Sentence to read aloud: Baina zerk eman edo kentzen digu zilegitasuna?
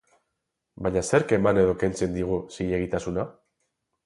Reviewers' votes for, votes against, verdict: 8, 0, accepted